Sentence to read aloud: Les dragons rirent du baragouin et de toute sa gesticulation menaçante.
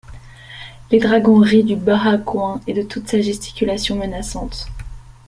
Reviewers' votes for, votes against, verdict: 0, 2, rejected